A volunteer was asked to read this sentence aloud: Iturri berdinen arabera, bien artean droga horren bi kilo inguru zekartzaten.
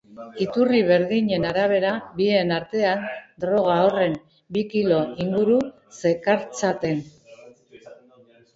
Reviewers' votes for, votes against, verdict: 1, 2, rejected